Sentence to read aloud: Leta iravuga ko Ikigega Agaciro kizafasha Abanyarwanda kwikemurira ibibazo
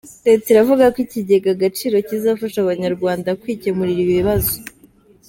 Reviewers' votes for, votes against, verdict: 2, 0, accepted